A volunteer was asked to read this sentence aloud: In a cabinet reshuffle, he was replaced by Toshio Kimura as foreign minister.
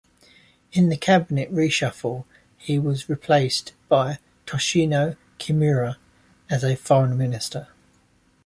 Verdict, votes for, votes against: rejected, 1, 2